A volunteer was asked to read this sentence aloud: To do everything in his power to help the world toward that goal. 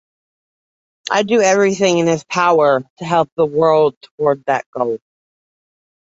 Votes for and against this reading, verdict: 1, 2, rejected